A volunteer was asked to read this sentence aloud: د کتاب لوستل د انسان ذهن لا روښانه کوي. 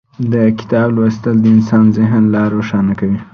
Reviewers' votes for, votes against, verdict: 2, 0, accepted